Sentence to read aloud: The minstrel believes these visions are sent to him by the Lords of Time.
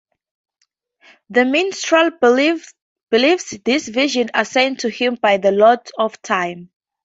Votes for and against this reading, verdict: 0, 2, rejected